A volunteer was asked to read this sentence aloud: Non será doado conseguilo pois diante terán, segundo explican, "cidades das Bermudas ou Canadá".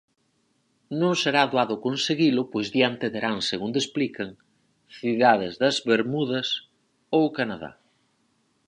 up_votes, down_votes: 4, 0